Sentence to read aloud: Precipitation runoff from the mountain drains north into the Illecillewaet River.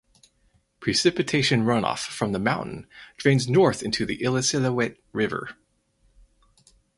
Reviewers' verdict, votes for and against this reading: accepted, 4, 0